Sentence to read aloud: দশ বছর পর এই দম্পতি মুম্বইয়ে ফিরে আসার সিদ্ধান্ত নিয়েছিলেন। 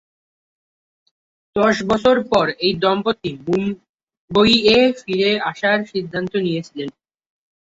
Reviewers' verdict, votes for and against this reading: accepted, 2, 0